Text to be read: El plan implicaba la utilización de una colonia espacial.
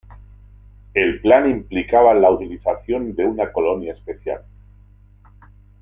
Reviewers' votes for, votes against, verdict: 2, 0, accepted